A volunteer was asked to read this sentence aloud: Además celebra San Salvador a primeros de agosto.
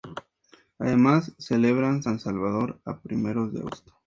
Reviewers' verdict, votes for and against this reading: accepted, 2, 0